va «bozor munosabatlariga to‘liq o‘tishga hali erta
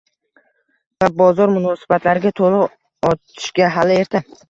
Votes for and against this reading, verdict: 1, 2, rejected